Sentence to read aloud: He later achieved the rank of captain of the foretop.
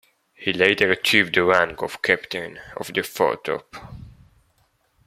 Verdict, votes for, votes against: accepted, 2, 1